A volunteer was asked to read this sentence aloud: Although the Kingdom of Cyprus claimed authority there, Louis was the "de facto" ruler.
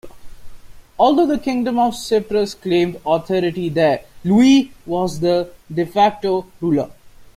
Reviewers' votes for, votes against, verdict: 0, 2, rejected